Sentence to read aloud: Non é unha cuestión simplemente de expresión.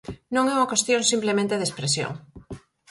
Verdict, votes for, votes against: accepted, 4, 0